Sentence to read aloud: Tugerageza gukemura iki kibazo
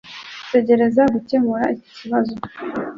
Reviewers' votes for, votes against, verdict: 2, 0, accepted